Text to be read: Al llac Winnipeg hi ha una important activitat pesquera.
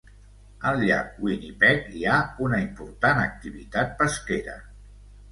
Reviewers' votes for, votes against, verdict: 2, 0, accepted